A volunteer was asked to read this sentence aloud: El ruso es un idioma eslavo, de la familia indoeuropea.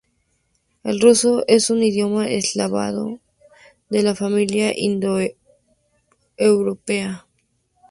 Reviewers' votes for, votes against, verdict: 0, 4, rejected